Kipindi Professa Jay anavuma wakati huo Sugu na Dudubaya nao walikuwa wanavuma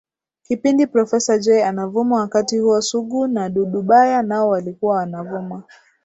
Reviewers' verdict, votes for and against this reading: accepted, 2, 0